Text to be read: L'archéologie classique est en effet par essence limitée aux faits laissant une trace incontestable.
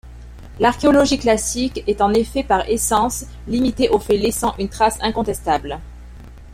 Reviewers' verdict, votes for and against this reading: accepted, 2, 0